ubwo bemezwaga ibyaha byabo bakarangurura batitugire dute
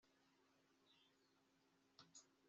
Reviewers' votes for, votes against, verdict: 2, 0, accepted